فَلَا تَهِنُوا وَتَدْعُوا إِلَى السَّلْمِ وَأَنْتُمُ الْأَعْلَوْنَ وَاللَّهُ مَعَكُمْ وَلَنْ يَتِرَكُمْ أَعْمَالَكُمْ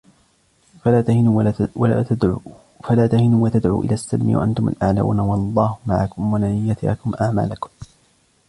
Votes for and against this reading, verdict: 0, 2, rejected